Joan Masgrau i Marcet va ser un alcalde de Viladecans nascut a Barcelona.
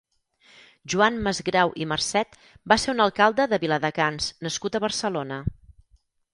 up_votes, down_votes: 2, 4